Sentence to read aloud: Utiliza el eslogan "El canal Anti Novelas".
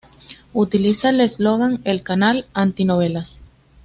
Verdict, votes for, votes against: accepted, 2, 0